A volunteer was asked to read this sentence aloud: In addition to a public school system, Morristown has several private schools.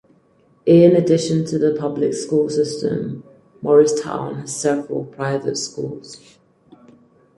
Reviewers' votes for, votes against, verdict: 0, 4, rejected